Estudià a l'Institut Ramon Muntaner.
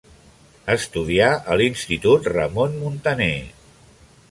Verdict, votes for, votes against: accepted, 2, 0